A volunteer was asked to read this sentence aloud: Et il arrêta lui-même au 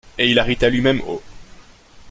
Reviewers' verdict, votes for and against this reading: accepted, 2, 1